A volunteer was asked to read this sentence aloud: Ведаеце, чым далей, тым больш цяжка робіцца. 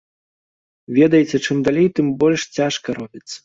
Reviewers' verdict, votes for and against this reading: accepted, 2, 1